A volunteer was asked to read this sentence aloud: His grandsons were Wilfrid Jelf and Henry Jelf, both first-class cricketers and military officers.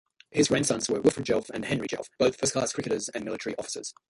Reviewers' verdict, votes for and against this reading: rejected, 0, 2